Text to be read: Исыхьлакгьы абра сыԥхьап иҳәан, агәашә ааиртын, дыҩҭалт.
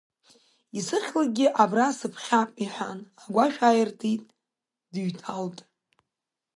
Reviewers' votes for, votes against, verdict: 1, 2, rejected